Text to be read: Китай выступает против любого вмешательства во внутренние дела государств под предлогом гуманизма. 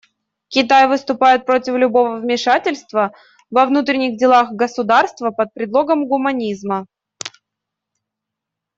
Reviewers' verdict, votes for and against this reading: rejected, 0, 2